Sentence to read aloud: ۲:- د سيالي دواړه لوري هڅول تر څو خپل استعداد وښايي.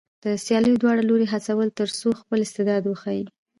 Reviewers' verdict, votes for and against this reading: rejected, 0, 2